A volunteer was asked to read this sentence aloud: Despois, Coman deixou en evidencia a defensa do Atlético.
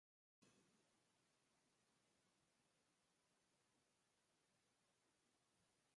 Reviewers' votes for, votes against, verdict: 0, 2, rejected